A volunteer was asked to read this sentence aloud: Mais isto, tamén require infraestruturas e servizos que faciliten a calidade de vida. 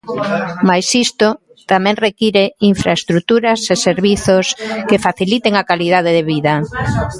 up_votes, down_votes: 1, 2